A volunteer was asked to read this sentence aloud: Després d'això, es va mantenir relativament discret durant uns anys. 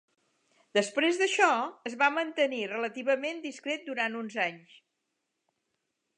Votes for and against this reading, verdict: 2, 0, accepted